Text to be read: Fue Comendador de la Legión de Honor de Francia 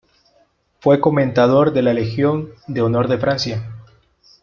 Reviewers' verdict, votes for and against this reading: rejected, 1, 2